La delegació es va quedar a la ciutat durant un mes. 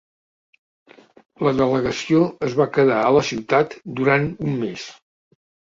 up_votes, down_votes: 2, 0